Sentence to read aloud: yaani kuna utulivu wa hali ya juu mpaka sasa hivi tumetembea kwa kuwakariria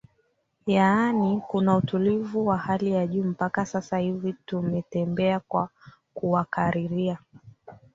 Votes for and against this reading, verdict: 0, 2, rejected